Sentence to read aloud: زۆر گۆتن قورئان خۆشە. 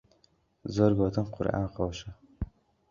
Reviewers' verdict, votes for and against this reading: accepted, 2, 0